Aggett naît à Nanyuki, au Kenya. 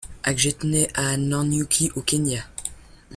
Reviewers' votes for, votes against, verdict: 2, 0, accepted